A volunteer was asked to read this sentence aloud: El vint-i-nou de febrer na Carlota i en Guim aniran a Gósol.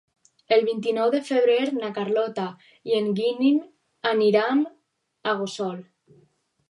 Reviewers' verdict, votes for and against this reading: rejected, 0, 4